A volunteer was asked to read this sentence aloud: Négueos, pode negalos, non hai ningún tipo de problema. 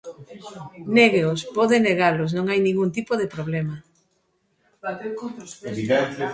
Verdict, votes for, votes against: rejected, 1, 2